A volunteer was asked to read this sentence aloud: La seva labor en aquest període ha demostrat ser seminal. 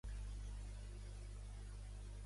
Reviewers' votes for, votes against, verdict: 0, 3, rejected